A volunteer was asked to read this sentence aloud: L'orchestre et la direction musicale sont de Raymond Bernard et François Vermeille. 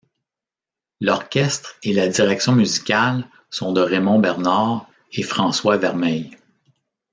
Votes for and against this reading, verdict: 0, 2, rejected